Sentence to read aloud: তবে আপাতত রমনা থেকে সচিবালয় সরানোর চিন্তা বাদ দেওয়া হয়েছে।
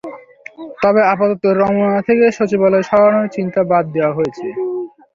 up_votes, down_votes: 0, 2